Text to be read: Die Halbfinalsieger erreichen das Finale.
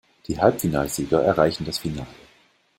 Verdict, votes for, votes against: accepted, 2, 0